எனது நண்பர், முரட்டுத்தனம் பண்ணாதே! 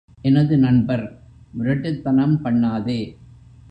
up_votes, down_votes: 2, 0